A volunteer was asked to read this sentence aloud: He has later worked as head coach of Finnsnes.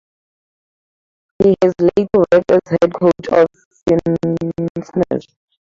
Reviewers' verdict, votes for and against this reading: accepted, 2, 0